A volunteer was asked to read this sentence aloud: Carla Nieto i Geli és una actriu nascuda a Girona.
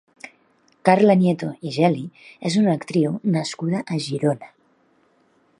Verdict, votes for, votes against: accepted, 2, 0